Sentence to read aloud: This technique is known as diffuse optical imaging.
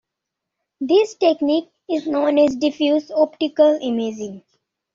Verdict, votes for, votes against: accepted, 2, 0